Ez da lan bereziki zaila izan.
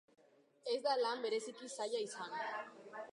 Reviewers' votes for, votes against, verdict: 2, 1, accepted